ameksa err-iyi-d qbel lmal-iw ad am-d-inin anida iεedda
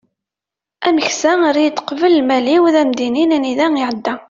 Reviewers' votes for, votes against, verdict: 3, 0, accepted